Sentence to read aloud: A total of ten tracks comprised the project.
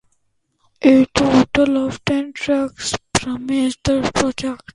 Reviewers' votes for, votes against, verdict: 0, 2, rejected